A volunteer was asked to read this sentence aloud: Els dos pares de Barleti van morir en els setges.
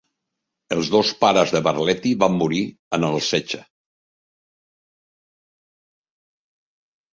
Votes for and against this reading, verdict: 1, 2, rejected